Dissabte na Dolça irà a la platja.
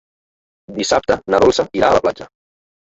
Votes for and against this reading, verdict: 1, 2, rejected